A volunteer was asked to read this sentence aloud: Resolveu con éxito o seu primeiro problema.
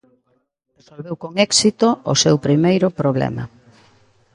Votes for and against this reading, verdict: 1, 2, rejected